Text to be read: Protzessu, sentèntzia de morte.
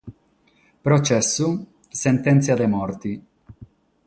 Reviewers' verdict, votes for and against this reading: accepted, 6, 3